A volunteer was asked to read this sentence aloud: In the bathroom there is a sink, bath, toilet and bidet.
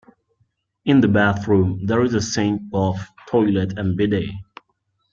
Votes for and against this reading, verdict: 2, 1, accepted